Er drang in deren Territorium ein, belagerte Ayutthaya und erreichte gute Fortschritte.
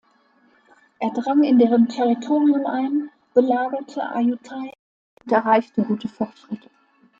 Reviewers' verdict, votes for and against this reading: rejected, 0, 2